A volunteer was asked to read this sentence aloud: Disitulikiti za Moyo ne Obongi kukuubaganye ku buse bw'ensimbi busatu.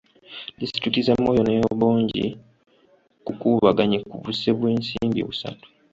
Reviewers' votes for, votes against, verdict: 2, 0, accepted